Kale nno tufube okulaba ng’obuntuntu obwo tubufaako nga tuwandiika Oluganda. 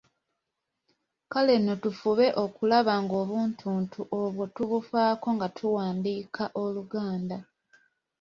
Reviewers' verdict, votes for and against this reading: accepted, 2, 0